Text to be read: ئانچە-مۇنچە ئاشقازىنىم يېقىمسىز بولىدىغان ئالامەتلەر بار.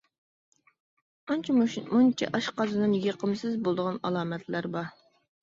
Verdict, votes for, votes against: rejected, 0, 2